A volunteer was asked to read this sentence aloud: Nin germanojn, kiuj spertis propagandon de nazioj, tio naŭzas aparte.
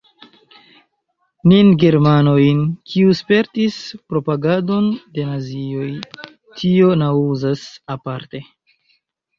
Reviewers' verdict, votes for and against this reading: rejected, 1, 2